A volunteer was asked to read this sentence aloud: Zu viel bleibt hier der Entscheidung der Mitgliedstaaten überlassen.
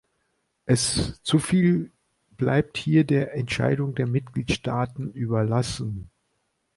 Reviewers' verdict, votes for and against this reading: rejected, 1, 2